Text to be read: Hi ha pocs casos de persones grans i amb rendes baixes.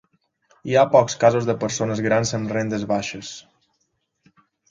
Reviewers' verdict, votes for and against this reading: rejected, 1, 2